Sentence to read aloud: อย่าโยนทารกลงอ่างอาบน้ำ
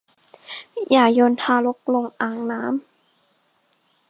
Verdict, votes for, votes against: rejected, 0, 2